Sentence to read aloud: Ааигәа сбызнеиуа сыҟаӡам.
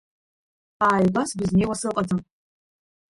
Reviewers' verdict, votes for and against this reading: rejected, 1, 2